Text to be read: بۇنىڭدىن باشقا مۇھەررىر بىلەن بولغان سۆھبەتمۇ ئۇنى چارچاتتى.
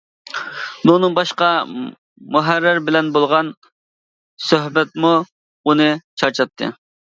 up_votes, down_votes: 0, 2